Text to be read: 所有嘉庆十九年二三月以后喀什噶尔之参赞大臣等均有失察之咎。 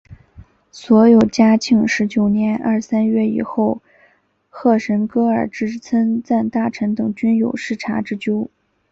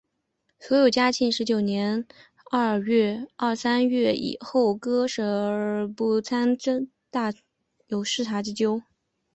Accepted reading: first